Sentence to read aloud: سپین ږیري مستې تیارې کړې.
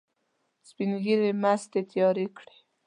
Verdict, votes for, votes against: accepted, 2, 0